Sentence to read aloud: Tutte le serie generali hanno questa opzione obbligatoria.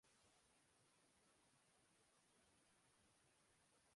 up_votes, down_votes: 0, 2